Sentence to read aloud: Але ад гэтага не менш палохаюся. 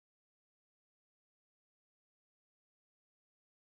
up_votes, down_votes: 0, 2